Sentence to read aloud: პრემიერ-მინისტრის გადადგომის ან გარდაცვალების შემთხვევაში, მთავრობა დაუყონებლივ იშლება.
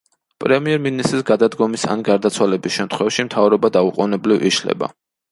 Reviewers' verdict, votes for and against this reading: accepted, 2, 0